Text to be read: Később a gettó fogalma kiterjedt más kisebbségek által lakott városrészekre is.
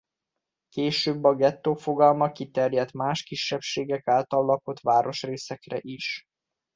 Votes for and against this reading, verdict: 2, 0, accepted